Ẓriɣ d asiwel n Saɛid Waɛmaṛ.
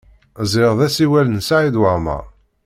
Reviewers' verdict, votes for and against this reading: accepted, 2, 0